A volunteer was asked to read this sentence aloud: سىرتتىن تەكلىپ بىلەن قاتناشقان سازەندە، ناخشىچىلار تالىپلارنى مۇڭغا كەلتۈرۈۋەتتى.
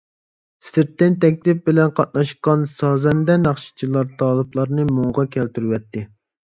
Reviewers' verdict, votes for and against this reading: accepted, 2, 0